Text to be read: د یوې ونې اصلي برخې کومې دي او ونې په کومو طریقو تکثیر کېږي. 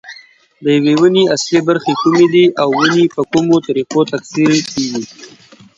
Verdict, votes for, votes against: accepted, 2, 0